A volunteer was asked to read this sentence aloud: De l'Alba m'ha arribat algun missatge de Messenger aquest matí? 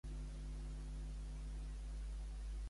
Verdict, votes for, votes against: rejected, 0, 2